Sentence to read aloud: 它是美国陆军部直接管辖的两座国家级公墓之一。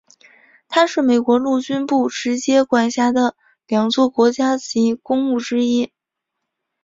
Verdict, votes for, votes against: accepted, 6, 0